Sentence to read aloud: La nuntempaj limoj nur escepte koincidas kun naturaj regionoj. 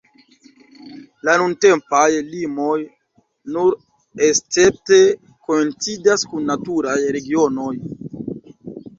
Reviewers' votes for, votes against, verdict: 1, 2, rejected